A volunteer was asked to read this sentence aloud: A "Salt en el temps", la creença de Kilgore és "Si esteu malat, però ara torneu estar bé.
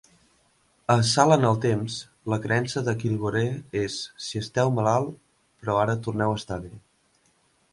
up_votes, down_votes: 1, 2